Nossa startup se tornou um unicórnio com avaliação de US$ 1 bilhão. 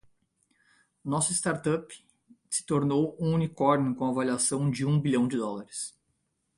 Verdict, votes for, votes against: rejected, 0, 2